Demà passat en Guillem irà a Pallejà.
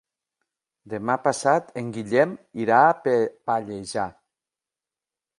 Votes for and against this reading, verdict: 0, 2, rejected